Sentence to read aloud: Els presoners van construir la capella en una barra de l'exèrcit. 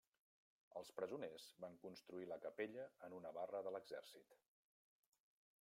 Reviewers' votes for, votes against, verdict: 0, 2, rejected